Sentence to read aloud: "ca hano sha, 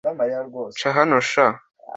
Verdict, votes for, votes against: accepted, 2, 0